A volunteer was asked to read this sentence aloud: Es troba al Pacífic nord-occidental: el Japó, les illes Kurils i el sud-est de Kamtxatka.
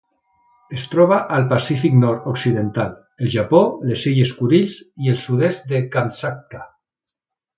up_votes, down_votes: 2, 0